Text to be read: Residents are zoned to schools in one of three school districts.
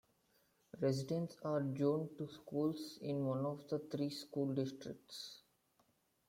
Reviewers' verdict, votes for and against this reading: rejected, 1, 2